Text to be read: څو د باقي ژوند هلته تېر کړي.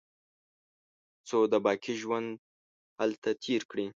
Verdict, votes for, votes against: rejected, 1, 2